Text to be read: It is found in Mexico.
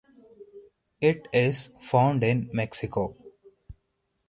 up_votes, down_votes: 4, 0